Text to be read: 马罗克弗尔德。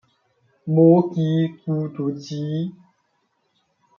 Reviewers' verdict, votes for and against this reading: rejected, 0, 2